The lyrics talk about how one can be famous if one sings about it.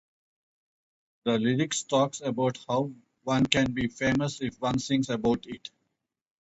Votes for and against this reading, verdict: 0, 2, rejected